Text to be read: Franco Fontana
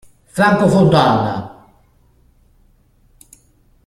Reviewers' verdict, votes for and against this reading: rejected, 0, 2